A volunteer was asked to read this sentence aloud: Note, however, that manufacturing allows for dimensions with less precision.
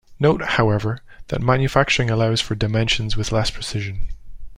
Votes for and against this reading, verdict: 2, 0, accepted